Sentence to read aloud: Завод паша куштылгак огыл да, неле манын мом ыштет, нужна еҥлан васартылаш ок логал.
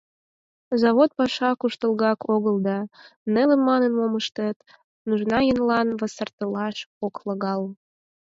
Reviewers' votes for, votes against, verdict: 4, 0, accepted